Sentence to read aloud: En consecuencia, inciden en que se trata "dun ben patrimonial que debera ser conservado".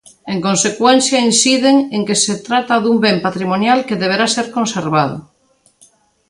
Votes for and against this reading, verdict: 2, 1, accepted